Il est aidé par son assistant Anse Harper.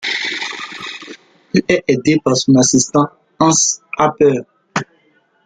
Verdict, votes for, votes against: accepted, 2, 0